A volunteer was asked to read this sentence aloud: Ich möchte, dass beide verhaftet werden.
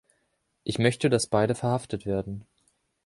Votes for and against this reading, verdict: 2, 0, accepted